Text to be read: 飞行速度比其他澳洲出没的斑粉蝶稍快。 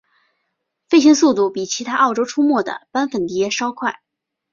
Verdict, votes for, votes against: accepted, 4, 0